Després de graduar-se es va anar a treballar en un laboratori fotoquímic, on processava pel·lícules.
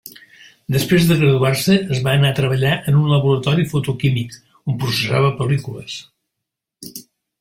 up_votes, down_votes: 2, 1